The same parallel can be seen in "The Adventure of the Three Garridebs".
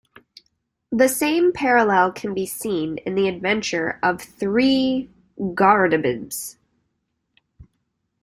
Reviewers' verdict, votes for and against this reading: rejected, 1, 2